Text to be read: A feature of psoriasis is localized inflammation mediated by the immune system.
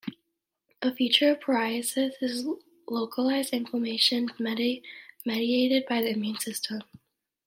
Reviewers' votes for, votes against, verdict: 0, 2, rejected